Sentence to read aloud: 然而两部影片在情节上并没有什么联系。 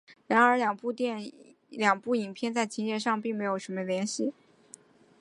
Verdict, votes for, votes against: accepted, 2, 0